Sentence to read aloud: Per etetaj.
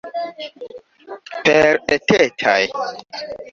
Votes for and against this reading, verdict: 3, 2, accepted